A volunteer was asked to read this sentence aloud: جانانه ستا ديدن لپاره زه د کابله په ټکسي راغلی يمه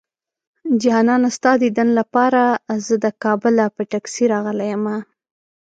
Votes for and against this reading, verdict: 2, 0, accepted